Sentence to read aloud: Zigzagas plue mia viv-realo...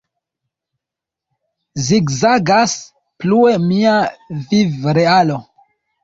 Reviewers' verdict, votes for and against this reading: accepted, 2, 0